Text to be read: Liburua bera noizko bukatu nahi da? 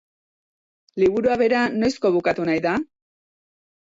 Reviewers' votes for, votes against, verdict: 3, 0, accepted